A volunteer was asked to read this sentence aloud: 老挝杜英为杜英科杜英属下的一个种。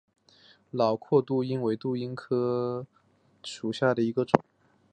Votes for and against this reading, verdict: 7, 0, accepted